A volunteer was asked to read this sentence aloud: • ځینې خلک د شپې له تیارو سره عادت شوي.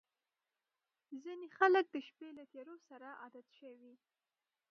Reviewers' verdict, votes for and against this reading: rejected, 1, 2